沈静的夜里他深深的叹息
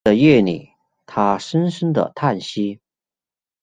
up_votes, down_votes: 0, 2